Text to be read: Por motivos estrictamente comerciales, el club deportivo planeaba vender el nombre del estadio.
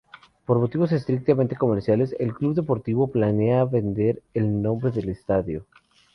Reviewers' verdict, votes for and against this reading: rejected, 0, 4